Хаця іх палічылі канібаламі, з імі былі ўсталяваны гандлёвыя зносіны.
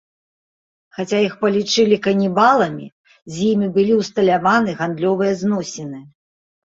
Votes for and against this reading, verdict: 2, 0, accepted